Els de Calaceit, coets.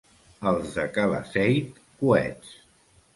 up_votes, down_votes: 2, 0